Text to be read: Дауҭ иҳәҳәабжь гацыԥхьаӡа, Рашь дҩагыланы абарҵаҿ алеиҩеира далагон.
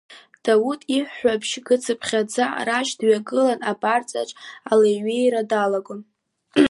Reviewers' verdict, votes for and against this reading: rejected, 0, 2